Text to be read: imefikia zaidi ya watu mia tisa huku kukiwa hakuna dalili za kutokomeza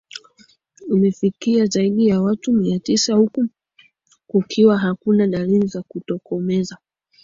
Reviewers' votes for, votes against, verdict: 2, 0, accepted